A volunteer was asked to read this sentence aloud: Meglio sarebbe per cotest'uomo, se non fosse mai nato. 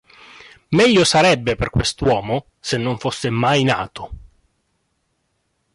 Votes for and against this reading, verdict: 1, 2, rejected